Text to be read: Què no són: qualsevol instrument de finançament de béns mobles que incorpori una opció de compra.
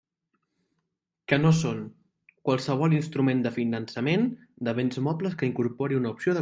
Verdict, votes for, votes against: rejected, 0, 2